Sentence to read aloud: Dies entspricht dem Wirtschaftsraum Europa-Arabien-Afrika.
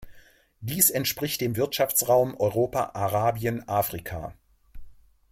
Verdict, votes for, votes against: accepted, 2, 1